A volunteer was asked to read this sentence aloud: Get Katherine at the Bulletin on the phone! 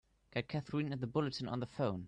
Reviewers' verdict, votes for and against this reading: rejected, 1, 2